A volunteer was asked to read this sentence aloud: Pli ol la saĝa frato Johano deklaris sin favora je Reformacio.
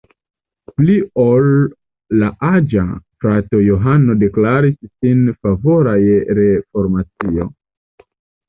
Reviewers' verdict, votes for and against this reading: rejected, 1, 2